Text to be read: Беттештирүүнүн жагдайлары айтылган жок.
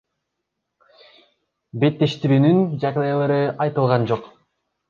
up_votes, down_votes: 1, 2